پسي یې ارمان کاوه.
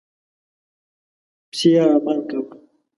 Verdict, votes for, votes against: rejected, 1, 2